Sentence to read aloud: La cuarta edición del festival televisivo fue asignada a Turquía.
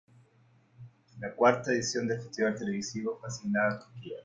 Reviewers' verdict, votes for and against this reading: rejected, 0, 2